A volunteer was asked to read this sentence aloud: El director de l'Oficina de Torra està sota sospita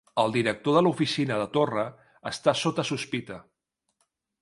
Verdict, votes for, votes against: accepted, 3, 0